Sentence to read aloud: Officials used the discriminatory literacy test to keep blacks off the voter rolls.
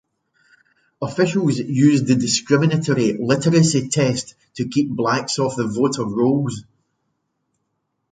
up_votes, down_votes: 2, 0